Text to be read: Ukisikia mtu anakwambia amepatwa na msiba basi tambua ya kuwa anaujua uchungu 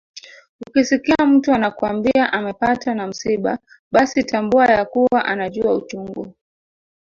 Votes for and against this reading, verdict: 1, 2, rejected